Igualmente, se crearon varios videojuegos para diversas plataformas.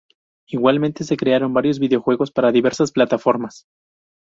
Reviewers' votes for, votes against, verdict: 2, 0, accepted